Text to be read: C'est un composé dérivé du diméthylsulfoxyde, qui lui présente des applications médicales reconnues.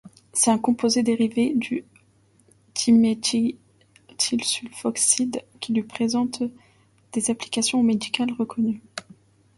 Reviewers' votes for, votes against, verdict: 1, 2, rejected